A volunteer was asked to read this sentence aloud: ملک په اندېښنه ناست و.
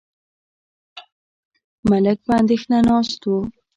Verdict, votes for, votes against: rejected, 1, 2